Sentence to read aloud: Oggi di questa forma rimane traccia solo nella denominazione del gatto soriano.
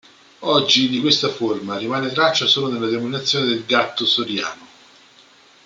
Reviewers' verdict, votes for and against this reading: rejected, 1, 2